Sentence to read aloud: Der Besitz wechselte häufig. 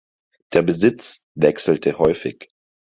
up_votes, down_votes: 4, 0